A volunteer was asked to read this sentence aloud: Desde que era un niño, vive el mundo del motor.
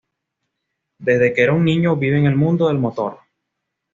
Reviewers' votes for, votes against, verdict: 2, 0, accepted